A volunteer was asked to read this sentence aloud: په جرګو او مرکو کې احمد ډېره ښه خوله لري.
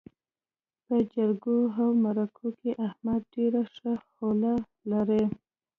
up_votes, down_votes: 3, 0